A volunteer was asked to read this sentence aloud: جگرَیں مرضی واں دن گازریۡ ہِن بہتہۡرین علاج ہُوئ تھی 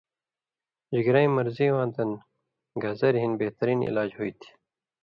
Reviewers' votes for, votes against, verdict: 2, 0, accepted